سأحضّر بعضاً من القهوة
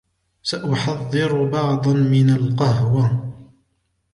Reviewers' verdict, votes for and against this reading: accepted, 2, 0